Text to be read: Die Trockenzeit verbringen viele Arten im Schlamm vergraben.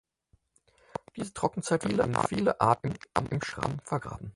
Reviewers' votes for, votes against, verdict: 0, 4, rejected